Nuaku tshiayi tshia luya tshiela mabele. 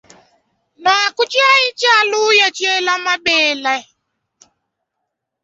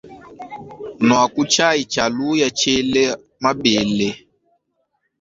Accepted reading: first